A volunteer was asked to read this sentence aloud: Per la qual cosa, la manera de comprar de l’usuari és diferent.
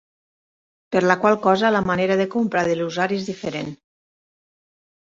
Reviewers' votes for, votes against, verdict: 1, 2, rejected